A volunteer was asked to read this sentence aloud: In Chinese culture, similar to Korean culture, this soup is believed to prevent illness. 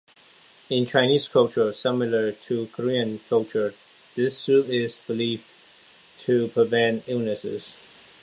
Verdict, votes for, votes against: rejected, 0, 2